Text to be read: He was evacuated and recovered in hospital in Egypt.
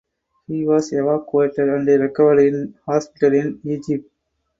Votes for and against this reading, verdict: 2, 4, rejected